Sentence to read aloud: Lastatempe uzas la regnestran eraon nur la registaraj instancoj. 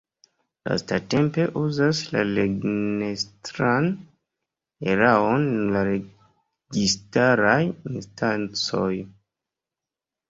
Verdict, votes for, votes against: accepted, 2, 1